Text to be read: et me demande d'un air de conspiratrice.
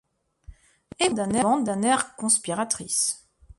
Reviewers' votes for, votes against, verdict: 0, 2, rejected